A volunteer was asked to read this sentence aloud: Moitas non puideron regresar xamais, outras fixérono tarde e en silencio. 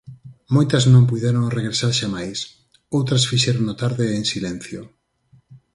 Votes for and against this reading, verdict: 4, 0, accepted